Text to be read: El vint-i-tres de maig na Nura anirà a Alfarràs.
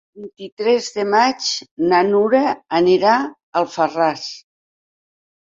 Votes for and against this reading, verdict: 1, 2, rejected